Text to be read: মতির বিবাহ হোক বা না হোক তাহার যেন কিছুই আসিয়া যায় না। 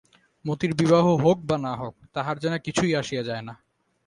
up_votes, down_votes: 2, 0